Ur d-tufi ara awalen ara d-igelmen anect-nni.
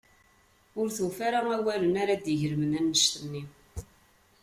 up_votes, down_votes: 2, 0